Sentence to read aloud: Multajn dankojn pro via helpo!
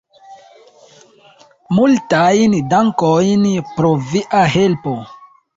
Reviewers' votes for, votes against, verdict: 0, 2, rejected